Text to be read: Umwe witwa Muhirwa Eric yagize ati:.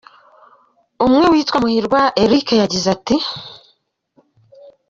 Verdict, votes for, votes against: accepted, 2, 1